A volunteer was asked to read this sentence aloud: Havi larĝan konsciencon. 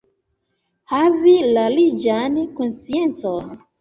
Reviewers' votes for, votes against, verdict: 1, 2, rejected